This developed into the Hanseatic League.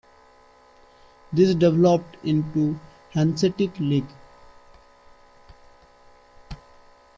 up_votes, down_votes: 0, 2